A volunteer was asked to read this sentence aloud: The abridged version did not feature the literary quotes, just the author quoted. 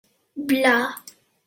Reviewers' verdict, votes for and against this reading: rejected, 0, 2